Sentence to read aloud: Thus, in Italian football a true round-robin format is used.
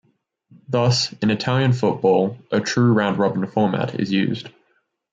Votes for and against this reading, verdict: 2, 0, accepted